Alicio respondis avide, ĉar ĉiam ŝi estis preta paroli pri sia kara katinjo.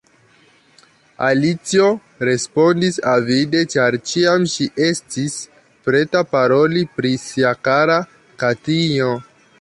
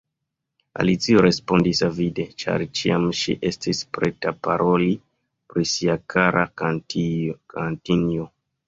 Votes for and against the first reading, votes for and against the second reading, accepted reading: 2, 0, 1, 2, first